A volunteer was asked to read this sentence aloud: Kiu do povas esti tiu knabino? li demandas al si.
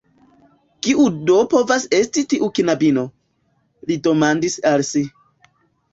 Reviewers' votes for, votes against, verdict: 1, 2, rejected